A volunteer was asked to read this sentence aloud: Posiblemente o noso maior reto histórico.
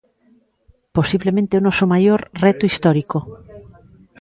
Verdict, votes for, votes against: accepted, 3, 0